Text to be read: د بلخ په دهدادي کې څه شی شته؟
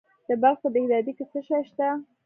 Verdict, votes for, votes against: accepted, 2, 0